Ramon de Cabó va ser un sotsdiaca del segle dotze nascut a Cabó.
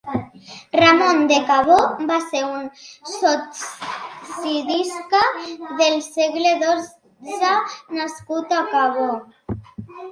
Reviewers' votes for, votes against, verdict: 0, 2, rejected